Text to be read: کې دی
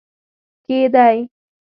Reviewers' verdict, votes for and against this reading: accepted, 2, 0